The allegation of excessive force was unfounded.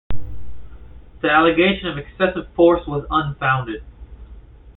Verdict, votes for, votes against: accepted, 2, 0